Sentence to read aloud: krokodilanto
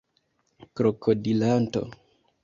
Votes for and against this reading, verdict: 2, 0, accepted